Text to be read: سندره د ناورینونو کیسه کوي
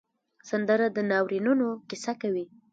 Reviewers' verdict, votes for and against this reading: rejected, 1, 2